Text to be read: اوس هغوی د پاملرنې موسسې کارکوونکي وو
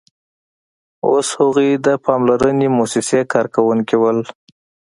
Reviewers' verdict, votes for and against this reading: accepted, 2, 0